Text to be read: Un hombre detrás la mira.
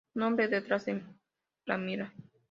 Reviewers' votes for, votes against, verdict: 0, 2, rejected